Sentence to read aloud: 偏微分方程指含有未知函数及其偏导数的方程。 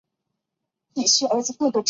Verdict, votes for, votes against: rejected, 0, 3